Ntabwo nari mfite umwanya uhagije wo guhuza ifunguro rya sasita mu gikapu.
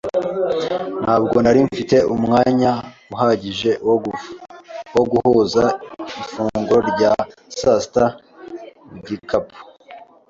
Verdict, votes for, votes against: rejected, 1, 2